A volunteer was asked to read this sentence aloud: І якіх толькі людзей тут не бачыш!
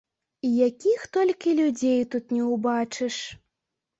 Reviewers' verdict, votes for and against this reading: rejected, 0, 2